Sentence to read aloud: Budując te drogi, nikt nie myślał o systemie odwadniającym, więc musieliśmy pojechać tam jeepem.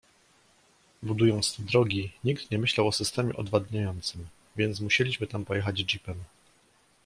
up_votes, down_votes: 0, 2